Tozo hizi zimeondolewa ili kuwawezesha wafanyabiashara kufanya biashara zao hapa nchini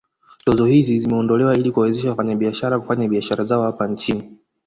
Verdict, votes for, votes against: accepted, 2, 0